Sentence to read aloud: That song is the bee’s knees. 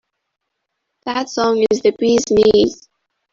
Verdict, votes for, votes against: rejected, 1, 2